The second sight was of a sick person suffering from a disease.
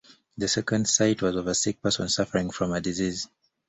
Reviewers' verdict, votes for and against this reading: accepted, 2, 0